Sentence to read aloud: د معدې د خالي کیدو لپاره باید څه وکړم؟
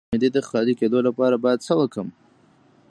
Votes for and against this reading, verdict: 2, 0, accepted